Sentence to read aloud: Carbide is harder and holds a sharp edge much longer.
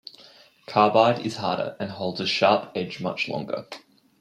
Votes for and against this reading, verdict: 0, 2, rejected